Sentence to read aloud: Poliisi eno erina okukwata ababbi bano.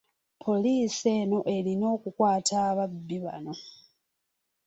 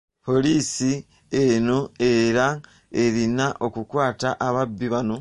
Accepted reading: first